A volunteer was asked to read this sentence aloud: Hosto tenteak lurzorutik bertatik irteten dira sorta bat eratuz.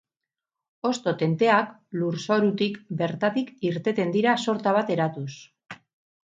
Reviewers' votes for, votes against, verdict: 2, 4, rejected